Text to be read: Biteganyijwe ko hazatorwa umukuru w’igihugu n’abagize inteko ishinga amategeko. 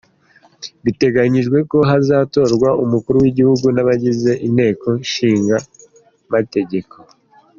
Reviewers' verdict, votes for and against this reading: accepted, 2, 0